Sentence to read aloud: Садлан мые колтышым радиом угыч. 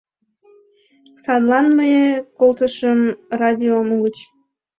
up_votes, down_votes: 1, 2